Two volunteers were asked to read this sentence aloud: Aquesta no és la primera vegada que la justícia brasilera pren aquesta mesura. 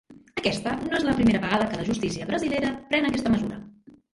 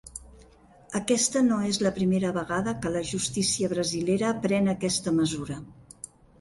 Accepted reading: second